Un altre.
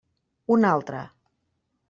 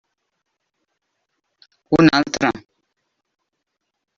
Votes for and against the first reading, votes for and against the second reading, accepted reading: 3, 0, 0, 2, first